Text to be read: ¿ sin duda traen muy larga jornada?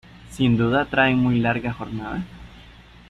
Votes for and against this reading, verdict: 2, 0, accepted